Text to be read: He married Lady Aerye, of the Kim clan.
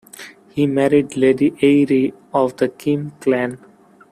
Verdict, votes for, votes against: rejected, 1, 2